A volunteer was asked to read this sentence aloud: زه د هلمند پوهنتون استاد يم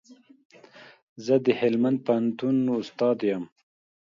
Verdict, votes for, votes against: accepted, 2, 0